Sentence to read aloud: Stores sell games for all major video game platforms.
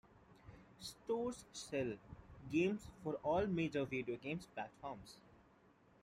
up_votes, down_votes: 1, 2